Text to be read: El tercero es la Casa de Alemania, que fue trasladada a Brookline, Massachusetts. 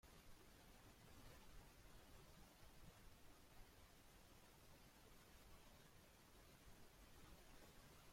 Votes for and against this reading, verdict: 0, 2, rejected